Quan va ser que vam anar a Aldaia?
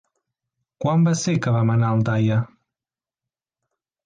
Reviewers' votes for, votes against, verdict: 2, 0, accepted